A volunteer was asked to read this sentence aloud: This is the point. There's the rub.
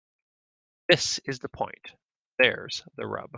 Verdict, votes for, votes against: accepted, 2, 0